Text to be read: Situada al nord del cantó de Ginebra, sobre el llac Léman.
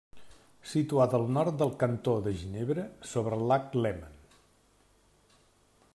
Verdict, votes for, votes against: rejected, 1, 2